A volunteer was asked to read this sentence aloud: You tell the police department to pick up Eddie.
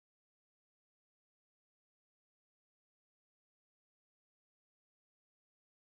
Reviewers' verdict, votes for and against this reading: rejected, 0, 2